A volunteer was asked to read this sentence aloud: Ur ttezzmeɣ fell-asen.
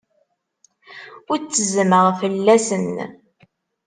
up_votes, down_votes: 2, 0